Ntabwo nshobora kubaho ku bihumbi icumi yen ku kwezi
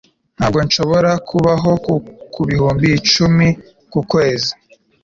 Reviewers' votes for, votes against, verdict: 2, 1, accepted